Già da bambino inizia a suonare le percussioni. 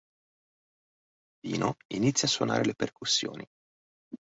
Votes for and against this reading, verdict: 0, 2, rejected